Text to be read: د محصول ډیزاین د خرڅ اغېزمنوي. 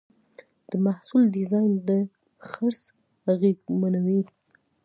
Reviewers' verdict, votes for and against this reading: accepted, 2, 0